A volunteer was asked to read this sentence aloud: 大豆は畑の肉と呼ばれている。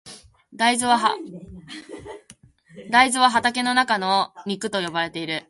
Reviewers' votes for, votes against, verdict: 1, 2, rejected